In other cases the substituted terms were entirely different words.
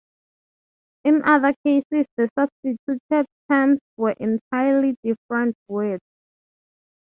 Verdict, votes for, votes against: accepted, 3, 0